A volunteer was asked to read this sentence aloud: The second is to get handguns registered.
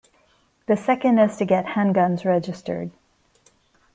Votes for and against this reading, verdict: 2, 0, accepted